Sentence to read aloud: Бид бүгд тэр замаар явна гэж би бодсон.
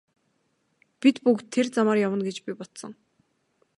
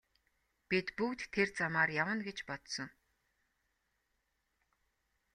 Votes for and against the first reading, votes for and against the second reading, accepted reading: 2, 0, 1, 2, first